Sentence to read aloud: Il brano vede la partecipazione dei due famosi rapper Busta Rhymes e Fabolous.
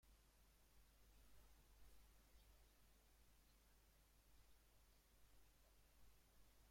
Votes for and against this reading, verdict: 0, 2, rejected